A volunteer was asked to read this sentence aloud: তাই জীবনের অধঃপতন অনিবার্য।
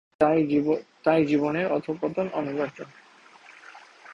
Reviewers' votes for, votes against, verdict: 0, 2, rejected